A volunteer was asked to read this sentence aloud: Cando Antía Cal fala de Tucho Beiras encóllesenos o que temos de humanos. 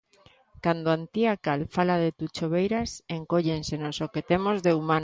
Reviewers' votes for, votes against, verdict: 1, 2, rejected